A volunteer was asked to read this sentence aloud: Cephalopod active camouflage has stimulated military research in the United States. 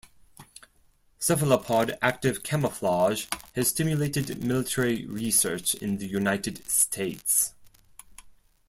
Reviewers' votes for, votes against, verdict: 4, 0, accepted